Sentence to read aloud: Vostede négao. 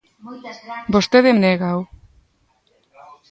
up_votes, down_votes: 1, 2